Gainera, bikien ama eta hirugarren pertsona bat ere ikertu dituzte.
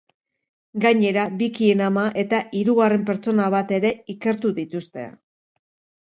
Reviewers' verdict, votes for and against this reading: accepted, 2, 0